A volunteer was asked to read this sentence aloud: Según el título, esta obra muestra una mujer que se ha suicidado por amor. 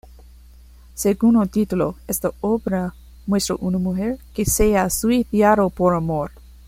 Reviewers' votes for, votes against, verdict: 1, 2, rejected